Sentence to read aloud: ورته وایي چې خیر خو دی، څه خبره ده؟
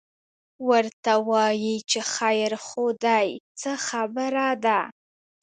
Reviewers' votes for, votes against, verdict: 2, 0, accepted